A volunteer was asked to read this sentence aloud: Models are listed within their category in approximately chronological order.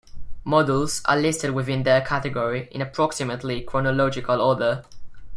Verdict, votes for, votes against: accepted, 2, 0